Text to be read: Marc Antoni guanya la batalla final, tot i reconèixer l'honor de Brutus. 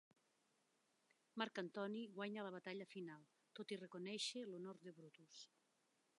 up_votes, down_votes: 2, 1